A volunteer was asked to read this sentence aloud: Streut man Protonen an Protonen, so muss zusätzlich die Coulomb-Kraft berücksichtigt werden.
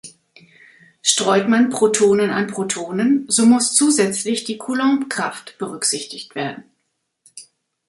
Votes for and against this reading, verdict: 2, 0, accepted